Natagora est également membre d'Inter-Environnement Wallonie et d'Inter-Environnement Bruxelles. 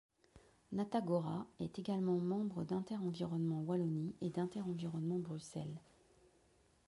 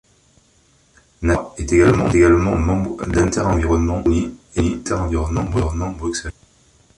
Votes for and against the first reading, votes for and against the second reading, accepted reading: 2, 0, 1, 2, first